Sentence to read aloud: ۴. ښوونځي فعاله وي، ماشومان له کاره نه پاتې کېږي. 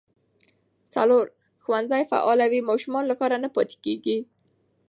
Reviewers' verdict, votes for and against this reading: rejected, 0, 2